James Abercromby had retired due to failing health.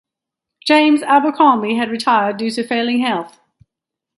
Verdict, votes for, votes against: accepted, 2, 0